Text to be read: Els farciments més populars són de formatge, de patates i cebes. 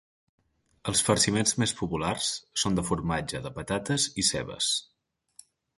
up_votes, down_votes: 2, 0